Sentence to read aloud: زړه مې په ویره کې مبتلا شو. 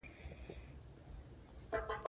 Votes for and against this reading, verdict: 2, 0, accepted